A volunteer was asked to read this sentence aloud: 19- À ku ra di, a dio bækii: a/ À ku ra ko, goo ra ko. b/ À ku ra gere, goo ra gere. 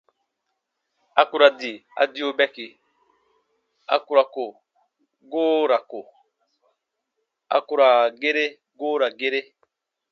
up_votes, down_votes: 0, 2